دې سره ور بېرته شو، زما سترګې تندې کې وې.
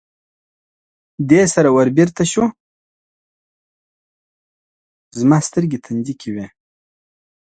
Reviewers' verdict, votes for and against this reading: rejected, 1, 2